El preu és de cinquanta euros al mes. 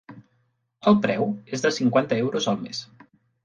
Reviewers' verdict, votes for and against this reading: accepted, 2, 0